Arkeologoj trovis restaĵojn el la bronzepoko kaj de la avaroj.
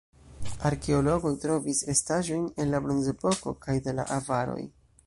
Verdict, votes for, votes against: rejected, 1, 2